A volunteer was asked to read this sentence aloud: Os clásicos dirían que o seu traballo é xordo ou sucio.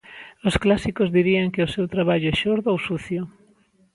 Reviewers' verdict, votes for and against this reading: accepted, 2, 0